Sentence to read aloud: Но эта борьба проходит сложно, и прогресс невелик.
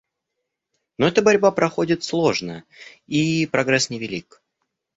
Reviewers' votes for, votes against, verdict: 0, 2, rejected